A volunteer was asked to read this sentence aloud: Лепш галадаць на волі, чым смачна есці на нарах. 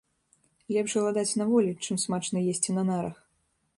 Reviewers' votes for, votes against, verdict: 2, 0, accepted